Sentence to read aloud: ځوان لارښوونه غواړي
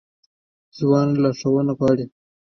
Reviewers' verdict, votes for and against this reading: rejected, 1, 2